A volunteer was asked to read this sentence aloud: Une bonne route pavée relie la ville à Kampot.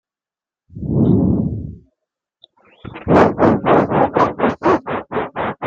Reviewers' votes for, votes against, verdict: 0, 2, rejected